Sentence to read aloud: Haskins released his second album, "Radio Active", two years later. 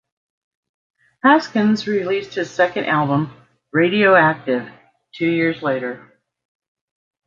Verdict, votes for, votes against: accepted, 2, 0